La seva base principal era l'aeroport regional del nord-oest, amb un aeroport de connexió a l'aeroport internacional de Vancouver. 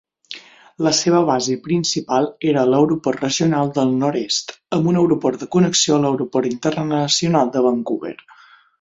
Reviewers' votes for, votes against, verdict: 0, 9, rejected